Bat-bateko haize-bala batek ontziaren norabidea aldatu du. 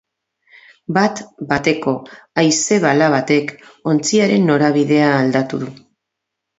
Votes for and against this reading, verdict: 4, 0, accepted